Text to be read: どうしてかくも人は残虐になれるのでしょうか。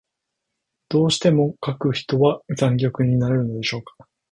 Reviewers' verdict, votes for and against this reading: rejected, 0, 2